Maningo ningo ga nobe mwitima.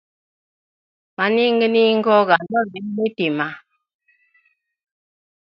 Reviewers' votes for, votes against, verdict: 0, 2, rejected